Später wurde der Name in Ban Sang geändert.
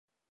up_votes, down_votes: 0, 2